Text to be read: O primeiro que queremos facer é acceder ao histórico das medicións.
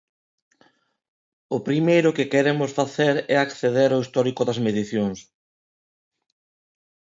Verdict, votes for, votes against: accepted, 2, 0